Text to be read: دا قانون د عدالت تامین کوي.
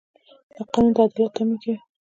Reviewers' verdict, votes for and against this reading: rejected, 1, 2